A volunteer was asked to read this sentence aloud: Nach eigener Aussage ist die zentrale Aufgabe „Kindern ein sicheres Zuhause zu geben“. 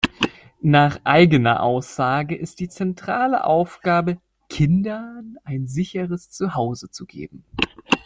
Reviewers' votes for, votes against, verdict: 2, 1, accepted